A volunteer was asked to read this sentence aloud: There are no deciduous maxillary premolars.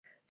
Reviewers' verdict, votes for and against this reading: rejected, 0, 2